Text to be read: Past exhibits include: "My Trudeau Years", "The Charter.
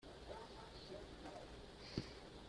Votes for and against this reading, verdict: 0, 2, rejected